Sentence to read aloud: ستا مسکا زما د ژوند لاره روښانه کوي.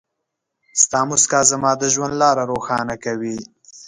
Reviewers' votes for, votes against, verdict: 2, 0, accepted